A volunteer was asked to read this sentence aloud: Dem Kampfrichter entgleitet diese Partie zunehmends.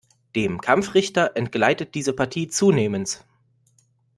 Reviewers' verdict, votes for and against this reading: accepted, 2, 0